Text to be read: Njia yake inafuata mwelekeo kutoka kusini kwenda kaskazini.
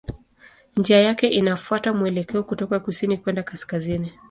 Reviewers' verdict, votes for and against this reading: accepted, 2, 0